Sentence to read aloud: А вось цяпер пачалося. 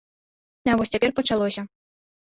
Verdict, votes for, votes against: rejected, 1, 2